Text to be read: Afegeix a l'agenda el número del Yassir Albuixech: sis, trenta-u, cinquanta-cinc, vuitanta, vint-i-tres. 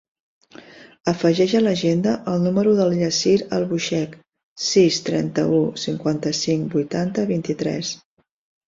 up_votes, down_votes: 2, 0